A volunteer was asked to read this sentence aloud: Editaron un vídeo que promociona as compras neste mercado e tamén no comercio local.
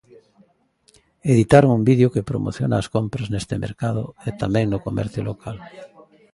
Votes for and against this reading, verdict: 0, 2, rejected